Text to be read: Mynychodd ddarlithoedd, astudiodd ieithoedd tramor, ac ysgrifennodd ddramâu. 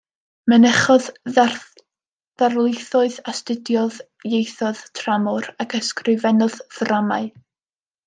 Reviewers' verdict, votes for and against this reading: rejected, 1, 2